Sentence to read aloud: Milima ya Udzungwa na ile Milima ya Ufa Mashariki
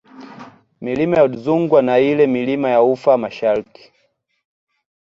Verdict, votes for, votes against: accepted, 2, 1